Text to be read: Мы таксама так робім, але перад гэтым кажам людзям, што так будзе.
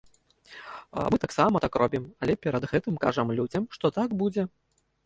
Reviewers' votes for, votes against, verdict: 1, 2, rejected